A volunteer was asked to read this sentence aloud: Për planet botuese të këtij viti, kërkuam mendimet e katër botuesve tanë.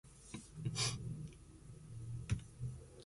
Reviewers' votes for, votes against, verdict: 0, 2, rejected